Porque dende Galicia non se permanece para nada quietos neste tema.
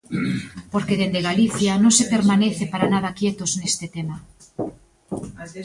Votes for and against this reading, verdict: 0, 2, rejected